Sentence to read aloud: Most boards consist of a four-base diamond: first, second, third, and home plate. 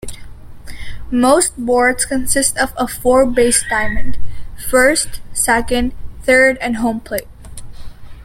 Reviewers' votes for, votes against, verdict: 2, 0, accepted